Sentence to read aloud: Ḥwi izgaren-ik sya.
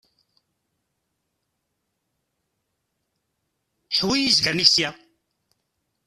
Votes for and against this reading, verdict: 0, 2, rejected